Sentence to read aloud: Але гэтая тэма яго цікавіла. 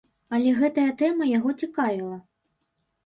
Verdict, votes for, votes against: accepted, 2, 0